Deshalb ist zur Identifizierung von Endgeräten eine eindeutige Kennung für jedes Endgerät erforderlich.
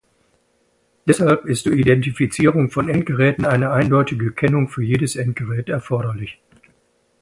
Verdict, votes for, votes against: accepted, 2, 0